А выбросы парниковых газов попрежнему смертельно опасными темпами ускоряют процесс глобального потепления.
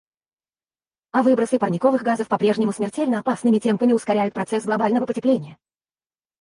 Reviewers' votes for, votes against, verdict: 2, 4, rejected